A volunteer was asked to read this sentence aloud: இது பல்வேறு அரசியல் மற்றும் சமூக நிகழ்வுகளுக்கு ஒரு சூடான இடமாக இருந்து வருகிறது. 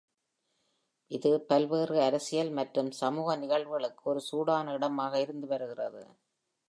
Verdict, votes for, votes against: rejected, 1, 2